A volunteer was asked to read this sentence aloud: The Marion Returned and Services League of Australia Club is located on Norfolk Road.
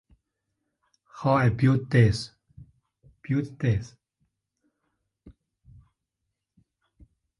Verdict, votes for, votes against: rejected, 0, 2